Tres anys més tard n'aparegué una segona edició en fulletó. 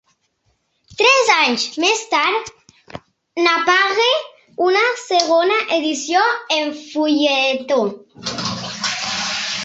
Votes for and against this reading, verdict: 0, 2, rejected